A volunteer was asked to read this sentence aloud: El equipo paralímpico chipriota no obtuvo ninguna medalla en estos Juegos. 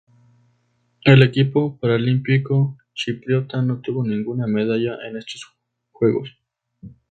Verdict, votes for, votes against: rejected, 0, 2